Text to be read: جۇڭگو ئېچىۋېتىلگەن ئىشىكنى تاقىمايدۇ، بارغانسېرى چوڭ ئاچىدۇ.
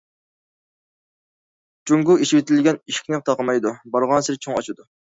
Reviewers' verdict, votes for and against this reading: accepted, 2, 0